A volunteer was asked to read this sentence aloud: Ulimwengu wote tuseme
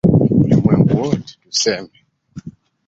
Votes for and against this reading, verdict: 0, 2, rejected